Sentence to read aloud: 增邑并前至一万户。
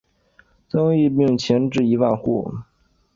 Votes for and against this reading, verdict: 3, 2, accepted